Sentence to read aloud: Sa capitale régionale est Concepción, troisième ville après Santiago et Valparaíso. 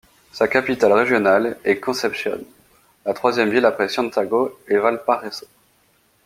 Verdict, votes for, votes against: rejected, 0, 2